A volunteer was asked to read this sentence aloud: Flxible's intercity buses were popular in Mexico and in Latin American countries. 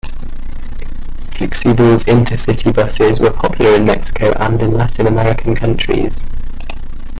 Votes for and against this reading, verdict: 1, 2, rejected